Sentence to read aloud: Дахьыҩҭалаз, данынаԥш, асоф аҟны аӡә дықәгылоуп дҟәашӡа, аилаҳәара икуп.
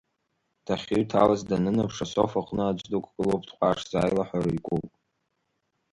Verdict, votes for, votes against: accepted, 2, 1